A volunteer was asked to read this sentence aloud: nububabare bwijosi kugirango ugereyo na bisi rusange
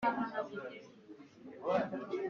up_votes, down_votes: 0, 2